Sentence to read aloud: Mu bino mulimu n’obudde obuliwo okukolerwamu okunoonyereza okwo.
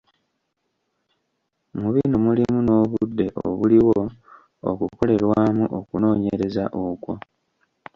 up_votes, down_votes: 2, 1